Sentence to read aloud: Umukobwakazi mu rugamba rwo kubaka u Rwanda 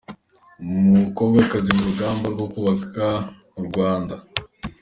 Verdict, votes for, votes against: accepted, 2, 0